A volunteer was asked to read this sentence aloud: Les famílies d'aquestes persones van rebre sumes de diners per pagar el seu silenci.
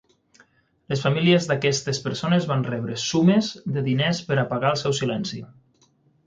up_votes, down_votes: 0, 6